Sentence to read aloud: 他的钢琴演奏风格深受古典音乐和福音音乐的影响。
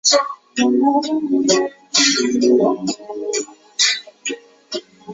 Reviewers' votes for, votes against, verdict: 2, 0, accepted